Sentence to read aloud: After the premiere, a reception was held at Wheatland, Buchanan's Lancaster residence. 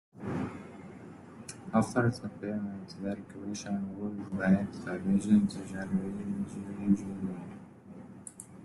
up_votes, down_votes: 0, 2